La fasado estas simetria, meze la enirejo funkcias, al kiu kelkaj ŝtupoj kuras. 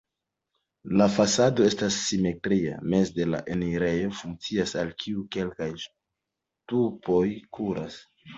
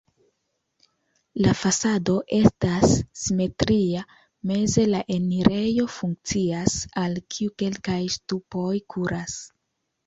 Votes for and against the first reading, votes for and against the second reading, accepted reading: 1, 2, 2, 0, second